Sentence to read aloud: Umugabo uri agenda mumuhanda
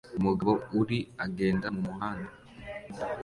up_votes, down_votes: 2, 0